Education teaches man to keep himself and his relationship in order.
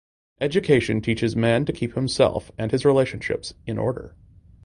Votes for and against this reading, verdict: 2, 1, accepted